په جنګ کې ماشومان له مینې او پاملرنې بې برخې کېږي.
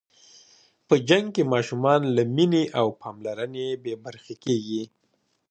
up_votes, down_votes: 2, 0